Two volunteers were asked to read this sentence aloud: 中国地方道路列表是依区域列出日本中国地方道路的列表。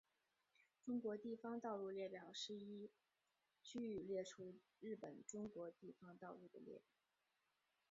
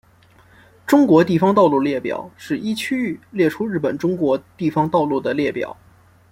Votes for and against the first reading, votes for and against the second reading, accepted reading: 0, 3, 2, 0, second